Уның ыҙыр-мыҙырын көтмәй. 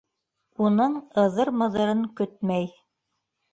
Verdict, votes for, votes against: accepted, 2, 0